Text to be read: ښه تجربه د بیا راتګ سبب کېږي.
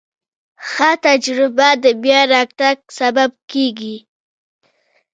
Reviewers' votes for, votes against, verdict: 1, 2, rejected